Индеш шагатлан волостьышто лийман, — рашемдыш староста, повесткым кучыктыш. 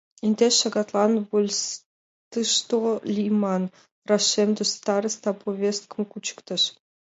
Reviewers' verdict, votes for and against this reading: rejected, 1, 2